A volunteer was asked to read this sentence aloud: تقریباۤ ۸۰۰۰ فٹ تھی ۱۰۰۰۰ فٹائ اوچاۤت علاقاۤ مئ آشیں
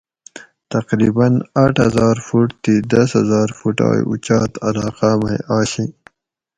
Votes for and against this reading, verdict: 0, 2, rejected